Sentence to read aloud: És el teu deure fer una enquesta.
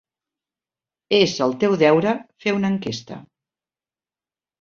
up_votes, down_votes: 3, 0